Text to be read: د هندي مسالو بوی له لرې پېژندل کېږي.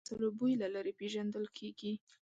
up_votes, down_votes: 0, 2